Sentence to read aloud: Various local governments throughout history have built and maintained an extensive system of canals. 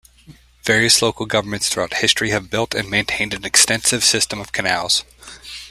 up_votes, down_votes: 2, 0